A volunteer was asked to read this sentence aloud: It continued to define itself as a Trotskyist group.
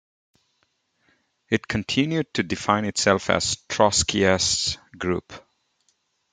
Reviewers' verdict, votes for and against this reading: rejected, 2, 3